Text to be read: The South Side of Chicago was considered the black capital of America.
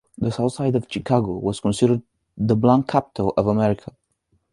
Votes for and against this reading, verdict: 1, 2, rejected